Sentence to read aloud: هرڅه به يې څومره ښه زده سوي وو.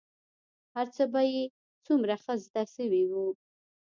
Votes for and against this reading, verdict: 0, 2, rejected